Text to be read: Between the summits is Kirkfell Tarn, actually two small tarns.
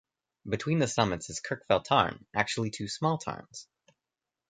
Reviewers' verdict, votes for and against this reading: accepted, 2, 0